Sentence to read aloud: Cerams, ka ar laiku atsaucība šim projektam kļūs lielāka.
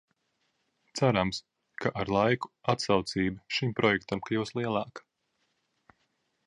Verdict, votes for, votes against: accepted, 2, 0